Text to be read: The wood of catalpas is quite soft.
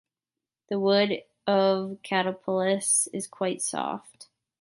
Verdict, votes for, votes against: rejected, 1, 2